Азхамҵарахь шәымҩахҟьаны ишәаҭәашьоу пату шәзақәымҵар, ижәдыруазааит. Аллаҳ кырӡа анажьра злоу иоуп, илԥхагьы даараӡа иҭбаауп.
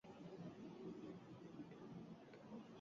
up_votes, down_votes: 0, 2